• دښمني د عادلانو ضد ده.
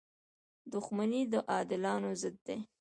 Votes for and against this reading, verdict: 0, 2, rejected